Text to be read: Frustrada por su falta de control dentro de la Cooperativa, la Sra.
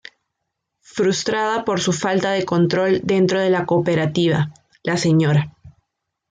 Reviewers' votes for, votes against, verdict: 2, 0, accepted